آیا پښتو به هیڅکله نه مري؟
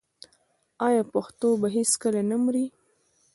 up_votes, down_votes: 1, 2